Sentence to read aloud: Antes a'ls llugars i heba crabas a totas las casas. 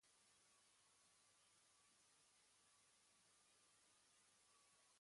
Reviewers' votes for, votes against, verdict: 1, 2, rejected